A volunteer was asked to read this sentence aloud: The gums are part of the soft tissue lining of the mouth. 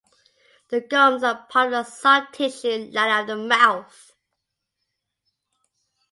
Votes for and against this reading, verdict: 0, 2, rejected